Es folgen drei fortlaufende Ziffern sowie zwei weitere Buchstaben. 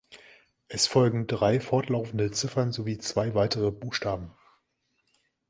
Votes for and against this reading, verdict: 2, 0, accepted